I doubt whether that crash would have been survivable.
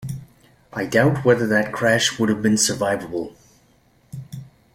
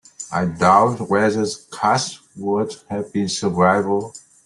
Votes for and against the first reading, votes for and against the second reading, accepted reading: 2, 0, 1, 2, first